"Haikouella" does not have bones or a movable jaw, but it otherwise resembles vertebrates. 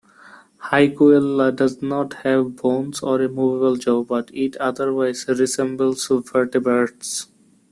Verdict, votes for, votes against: accepted, 2, 1